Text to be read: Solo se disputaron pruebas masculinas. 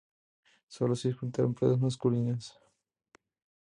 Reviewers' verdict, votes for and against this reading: accepted, 2, 0